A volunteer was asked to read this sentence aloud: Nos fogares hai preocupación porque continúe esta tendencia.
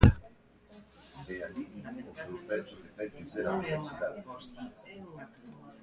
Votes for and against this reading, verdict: 0, 2, rejected